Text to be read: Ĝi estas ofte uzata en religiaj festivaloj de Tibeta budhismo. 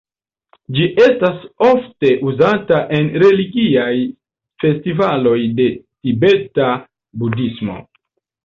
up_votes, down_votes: 2, 0